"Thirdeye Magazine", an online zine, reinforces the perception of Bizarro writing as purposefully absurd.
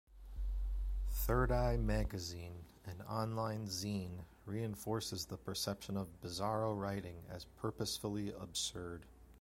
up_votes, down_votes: 2, 0